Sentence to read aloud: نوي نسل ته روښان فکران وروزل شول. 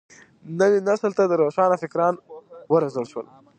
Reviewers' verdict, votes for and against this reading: rejected, 1, 2